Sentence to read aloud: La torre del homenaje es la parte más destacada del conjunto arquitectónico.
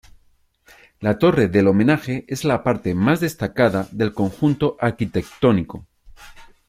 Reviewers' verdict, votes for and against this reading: accepted, 2, 0